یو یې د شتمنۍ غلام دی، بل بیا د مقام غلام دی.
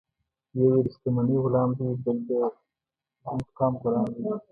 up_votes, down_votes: 1, 2